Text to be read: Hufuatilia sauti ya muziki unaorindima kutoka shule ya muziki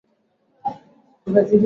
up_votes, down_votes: 0, 2